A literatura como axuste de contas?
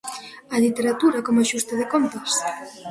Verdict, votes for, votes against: rejected, 1, 2